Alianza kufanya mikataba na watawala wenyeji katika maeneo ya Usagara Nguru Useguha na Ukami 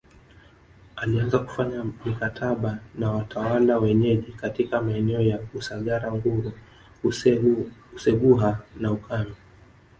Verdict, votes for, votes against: rejected, 1, 2